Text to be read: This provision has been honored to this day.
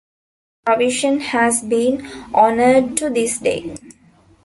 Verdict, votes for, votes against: rejected, 1, 2